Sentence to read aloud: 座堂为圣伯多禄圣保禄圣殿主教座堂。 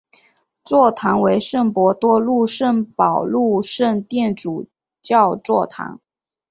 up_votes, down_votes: 1, 2